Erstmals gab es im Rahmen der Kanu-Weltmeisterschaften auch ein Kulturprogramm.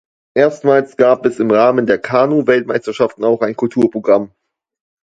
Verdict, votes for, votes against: accepted, 2, 0